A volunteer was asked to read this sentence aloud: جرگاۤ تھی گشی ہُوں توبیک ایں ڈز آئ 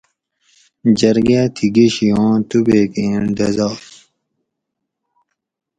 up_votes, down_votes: 2, 2